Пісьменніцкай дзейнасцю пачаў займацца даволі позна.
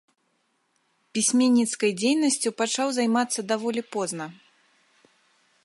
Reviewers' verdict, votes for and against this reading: accepted, 2, 0